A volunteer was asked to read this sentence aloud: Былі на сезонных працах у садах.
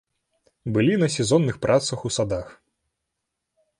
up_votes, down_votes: 2, 0